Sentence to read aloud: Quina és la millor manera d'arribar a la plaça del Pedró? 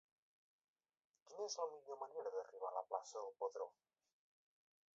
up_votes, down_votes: 0, 2